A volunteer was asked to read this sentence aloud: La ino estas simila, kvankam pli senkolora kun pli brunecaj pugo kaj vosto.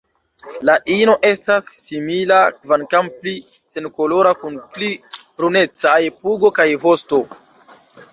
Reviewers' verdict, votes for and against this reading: rejected, 1, 2